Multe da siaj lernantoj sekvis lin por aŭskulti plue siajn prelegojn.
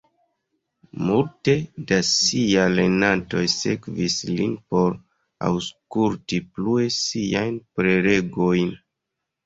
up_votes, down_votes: 2, 0